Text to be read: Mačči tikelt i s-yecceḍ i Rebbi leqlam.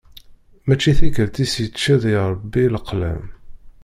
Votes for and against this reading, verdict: 0, 2, rejected